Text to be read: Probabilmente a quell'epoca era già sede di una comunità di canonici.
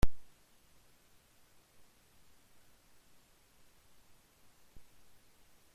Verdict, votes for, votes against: rejected, 0, 2